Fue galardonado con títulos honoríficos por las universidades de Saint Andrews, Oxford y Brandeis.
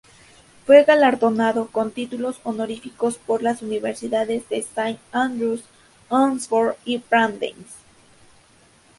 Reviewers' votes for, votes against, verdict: 2, 0, accepted